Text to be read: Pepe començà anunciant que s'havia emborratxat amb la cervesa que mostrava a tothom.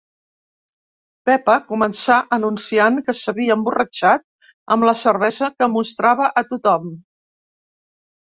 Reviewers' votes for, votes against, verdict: 2, 3, rejected